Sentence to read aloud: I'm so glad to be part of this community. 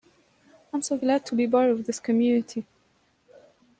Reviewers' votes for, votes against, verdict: 2, 0, accepted